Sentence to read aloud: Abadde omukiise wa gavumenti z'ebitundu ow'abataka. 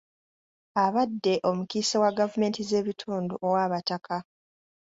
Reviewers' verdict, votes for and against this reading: accepted, 2, 0